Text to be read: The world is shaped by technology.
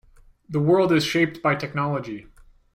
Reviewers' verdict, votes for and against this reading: accepted, 2, 0